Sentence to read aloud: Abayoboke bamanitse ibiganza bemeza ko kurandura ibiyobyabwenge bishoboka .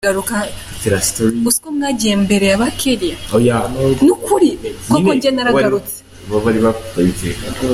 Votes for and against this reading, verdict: 0, 2, rejected